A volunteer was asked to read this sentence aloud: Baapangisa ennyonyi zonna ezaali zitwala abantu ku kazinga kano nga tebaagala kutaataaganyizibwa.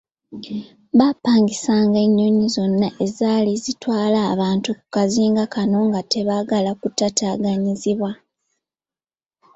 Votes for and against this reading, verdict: 0, 2, rejected